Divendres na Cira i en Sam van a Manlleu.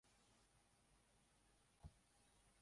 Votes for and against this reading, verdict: 0, 2, rejected